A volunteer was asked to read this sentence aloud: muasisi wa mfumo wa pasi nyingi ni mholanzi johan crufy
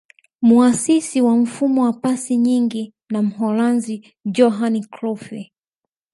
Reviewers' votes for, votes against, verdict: 1, 2, rejected